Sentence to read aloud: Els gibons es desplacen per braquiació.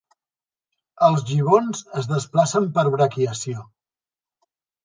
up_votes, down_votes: 2, 0